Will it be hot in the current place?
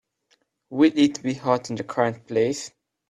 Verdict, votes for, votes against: rejected, 1, 2